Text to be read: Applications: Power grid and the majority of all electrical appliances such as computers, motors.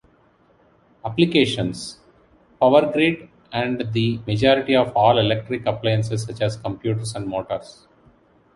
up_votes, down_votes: 1, 2